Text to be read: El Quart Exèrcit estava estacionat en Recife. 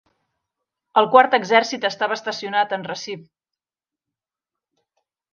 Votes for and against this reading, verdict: 0, 2, rejected